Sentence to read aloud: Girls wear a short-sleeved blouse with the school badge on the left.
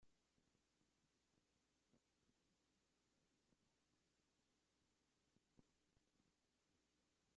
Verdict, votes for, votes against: rejected, 1, 2